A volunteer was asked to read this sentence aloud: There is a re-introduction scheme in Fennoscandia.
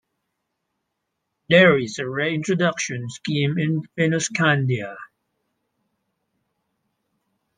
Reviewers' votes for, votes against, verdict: 2, 0, accepted